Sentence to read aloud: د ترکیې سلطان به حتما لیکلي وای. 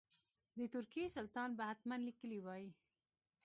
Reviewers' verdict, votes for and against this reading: accepted, 2, 0